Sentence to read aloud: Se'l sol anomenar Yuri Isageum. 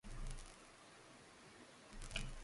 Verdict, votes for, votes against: rejected, 0, 2